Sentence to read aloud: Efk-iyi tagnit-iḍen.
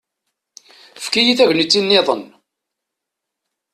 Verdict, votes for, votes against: rejected, 0, 2